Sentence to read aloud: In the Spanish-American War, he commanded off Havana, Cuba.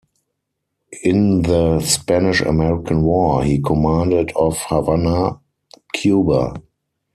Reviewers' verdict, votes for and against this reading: accepted, 4, 2